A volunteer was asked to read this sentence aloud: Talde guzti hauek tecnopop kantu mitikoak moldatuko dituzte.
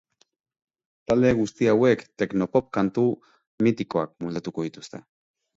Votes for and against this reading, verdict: 2, 0, accepted